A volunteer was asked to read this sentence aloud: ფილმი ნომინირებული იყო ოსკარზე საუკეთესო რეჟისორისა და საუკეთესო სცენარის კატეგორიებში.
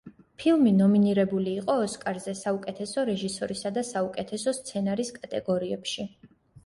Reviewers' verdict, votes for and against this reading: accepted, 2, 0